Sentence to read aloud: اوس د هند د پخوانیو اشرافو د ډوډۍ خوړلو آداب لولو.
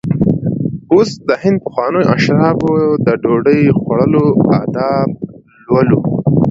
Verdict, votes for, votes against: accepted, 2, 0